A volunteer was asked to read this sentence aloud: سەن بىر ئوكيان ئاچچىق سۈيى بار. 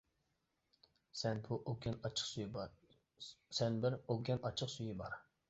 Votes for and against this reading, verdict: 0, 2, rejected